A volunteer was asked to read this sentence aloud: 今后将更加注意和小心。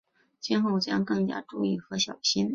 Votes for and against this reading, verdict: 2, 0, accepted